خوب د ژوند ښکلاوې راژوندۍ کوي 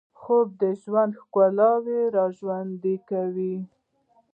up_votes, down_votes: 0, 2